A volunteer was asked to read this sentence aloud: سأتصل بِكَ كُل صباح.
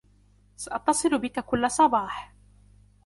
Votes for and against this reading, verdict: 2, 0, accepted